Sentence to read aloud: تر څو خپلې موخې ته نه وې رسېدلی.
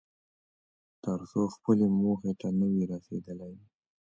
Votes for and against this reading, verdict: 2, 0, accepted